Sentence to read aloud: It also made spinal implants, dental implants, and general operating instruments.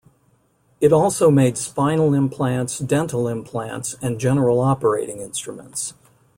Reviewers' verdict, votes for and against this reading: accepted, 2, 0